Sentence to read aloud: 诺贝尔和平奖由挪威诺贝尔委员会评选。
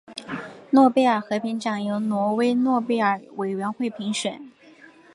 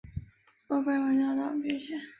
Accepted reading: first